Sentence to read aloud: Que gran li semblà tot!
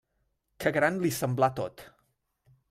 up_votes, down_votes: 2, 0